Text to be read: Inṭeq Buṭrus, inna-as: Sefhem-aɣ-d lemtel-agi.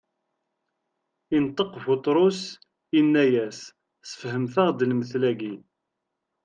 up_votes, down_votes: 0, 2